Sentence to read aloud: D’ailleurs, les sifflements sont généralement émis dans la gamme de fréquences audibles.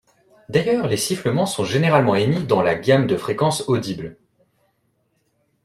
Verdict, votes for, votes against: accepted, 2, 0